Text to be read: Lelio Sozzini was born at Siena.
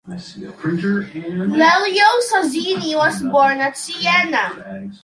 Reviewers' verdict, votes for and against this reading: rejected, 1, 2